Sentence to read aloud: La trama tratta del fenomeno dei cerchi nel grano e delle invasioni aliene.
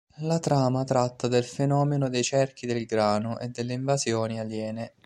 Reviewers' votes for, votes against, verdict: 1, 2, rejected